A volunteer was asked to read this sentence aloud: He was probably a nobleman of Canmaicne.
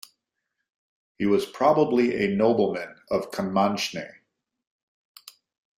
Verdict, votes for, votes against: accepted, 2, 0